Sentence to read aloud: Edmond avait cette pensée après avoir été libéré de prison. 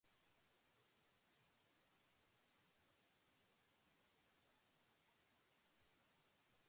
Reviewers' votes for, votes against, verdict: 0, 2, rejected